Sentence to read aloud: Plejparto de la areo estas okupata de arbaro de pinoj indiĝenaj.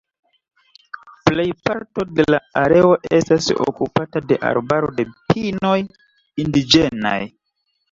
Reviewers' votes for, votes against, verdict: 3, 1, accepted